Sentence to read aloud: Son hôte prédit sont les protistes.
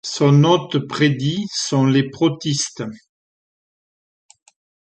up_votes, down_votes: 2, 0